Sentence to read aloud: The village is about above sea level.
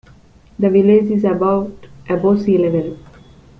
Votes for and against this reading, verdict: 2, 1, accepted